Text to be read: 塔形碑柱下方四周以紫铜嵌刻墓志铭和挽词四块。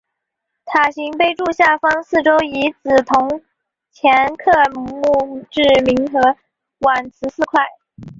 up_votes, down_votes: 2, 0